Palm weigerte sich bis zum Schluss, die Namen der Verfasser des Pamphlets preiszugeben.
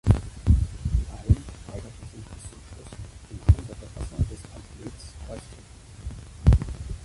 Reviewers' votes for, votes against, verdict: 1, 3, rejected